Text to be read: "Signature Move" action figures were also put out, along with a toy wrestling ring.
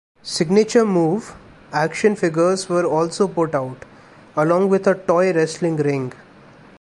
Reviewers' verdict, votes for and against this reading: accepted, 2, 0